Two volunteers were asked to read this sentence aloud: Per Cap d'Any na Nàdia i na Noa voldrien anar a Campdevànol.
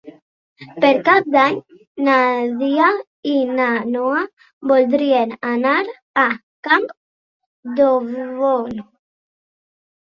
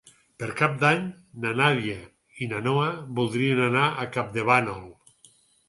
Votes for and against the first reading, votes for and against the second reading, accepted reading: 0, 2, 4, 0, second